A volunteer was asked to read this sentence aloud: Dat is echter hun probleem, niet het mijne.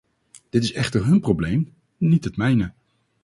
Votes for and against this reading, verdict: 4, 0, accepted